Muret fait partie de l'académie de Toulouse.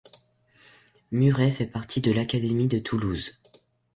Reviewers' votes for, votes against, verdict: 2, 0, accepted